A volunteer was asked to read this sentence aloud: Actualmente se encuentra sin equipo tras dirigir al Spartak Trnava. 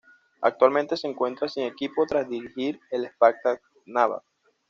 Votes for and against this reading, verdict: 1, 2, rejected